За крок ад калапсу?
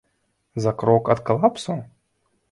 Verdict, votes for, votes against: accepted, 3, 0